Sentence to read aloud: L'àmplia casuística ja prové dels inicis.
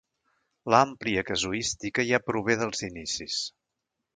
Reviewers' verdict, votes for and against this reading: rejected, 1, 2